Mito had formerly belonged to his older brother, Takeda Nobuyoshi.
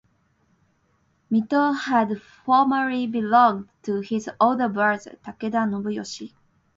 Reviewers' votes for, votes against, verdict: 2, 0, accepted